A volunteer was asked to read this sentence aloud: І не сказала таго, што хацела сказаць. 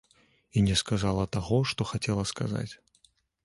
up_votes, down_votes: 2, 0